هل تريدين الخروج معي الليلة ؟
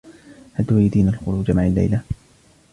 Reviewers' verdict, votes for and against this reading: accepted, 2, 0